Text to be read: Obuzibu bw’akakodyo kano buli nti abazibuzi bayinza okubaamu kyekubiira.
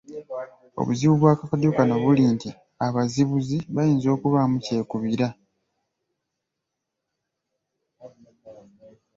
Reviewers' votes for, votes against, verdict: 2, 0, accepted